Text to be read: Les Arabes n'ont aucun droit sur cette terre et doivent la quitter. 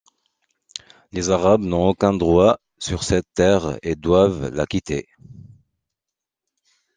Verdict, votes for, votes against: accepted, 2, 0